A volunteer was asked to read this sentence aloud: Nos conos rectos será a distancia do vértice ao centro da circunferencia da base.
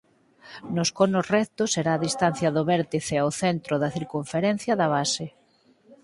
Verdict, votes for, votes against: rejected, 2, 4